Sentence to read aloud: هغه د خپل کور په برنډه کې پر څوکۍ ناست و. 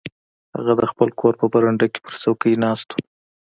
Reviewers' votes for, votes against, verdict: 3, 0, accepted